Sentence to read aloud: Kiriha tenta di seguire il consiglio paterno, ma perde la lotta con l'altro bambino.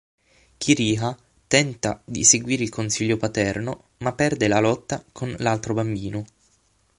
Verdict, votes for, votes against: accepted, 6, 0